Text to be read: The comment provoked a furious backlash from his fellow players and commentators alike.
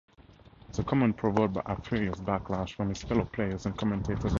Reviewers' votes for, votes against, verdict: 0, 2, rejected